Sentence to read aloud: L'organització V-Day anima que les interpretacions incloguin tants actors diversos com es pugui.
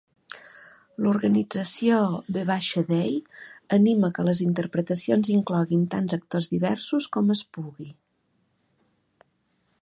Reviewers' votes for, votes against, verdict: 2, 1, accepted